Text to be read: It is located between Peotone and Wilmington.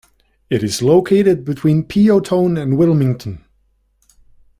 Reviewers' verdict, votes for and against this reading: accepted, 2, 0